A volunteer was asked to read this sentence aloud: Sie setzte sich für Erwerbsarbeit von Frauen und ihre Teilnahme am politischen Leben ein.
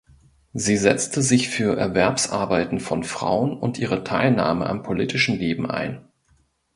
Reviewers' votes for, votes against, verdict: 0, 2, rejected